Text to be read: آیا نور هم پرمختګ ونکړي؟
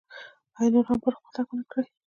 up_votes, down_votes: 1, 2